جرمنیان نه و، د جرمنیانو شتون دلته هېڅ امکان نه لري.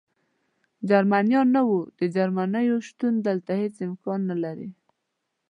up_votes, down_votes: 1, 2